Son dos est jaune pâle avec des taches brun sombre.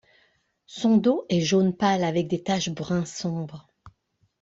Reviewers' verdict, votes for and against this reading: accepted, 2, 0